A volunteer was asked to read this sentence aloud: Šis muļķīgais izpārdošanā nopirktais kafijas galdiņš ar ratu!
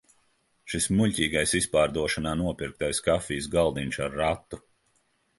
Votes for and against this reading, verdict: 2, 0, accepted